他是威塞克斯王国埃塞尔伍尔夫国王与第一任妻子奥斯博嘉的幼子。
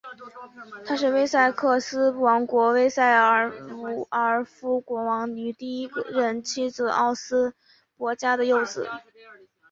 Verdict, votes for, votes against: rejected, 3, 4